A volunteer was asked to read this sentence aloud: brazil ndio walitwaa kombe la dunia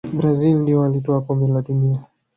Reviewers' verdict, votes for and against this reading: rejected, 1, 2